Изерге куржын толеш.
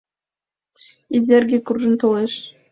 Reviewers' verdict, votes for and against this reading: accepted, 2, 0